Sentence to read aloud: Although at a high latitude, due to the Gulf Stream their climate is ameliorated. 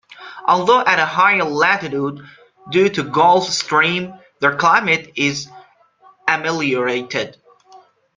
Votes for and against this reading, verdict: 1, 2, rejected